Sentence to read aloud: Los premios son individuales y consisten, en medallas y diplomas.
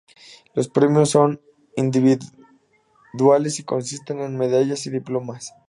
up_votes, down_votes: 2, 0